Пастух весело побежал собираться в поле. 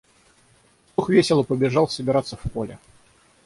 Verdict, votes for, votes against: rejected, 0, 6